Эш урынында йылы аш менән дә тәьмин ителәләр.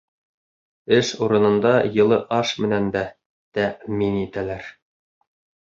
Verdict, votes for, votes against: accepted, 3, 0